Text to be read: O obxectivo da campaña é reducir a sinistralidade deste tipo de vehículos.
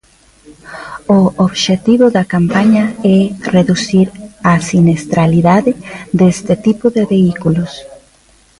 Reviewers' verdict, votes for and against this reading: rejected, 1, 2